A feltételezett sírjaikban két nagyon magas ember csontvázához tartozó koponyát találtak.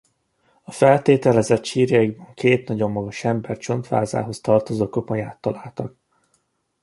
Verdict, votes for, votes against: accepted, 2, 0